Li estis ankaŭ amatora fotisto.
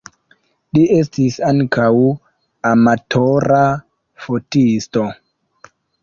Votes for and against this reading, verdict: 2, 1, accepted